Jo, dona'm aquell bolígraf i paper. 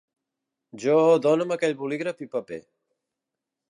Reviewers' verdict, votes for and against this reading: rejected, 0, 2